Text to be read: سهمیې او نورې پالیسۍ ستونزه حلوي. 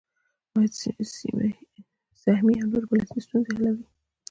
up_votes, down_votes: 2, 0